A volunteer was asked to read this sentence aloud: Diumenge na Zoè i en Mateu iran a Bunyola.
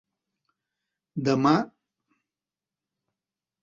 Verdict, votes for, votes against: rejected, 0, 3